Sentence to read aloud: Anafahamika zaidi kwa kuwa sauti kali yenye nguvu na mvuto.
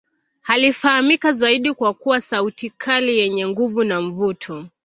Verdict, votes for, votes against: rejected, 0, 2